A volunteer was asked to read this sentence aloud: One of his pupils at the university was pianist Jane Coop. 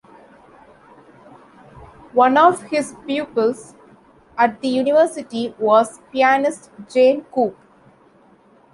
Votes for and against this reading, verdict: 2, 0, accepted